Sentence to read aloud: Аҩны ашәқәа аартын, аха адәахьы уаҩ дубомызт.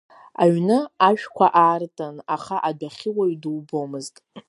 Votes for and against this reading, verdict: 2, 0, accepted